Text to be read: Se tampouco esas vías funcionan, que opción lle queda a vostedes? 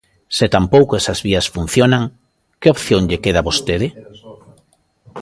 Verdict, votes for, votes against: rejected, 0, 2